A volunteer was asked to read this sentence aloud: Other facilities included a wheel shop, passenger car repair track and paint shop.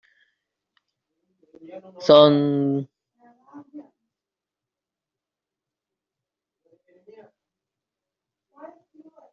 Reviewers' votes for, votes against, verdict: 0, 2, rejected